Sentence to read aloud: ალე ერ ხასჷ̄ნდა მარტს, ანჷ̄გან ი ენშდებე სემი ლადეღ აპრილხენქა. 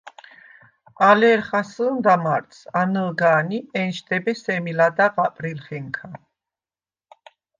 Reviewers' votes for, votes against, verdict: 2, 1, accepted